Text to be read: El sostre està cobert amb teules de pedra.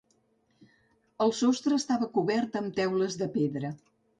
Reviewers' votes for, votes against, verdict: 1, 2, rejected